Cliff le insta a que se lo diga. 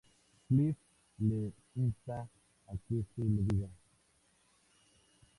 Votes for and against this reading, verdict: 0, 4, rejected